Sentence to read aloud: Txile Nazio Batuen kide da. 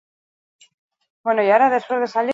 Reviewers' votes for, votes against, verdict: 0, 4, rejected